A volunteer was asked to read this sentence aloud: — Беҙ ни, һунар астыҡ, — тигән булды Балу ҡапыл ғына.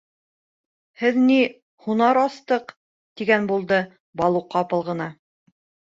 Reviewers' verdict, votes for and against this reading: rejected, 0, 2